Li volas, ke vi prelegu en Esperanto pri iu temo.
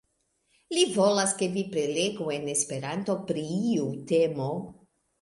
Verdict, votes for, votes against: accepted, 2, 1